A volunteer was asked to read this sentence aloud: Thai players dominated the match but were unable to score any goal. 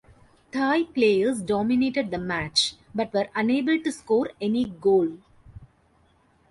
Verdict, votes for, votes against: accepted, 2, 1